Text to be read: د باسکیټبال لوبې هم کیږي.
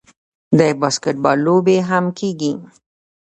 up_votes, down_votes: 2, 0